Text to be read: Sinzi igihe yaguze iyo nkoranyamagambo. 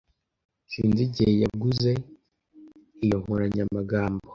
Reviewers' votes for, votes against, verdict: 2, 0, accepted